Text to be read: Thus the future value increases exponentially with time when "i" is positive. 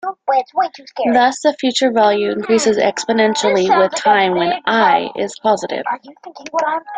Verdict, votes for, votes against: rejected, 1, 2